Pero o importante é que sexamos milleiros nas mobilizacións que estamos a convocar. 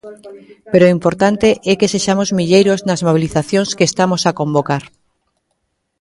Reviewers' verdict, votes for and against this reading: rejected, 1, 2